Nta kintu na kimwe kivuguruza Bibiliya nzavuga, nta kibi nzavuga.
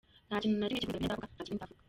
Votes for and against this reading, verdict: 0, 2, rejected